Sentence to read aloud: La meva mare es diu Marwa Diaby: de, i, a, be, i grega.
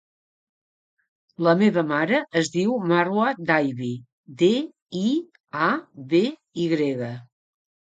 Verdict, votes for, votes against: accepted, 2, 0